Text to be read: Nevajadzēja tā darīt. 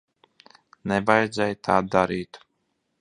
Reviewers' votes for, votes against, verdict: 2, 0, accepted